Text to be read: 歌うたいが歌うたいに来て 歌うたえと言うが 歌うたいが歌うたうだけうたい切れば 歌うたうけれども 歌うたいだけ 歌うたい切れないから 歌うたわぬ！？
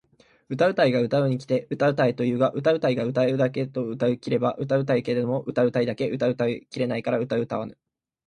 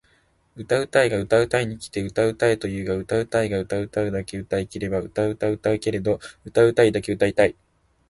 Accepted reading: first